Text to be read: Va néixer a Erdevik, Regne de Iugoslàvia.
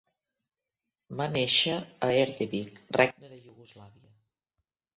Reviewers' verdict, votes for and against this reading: rejected, 0, 2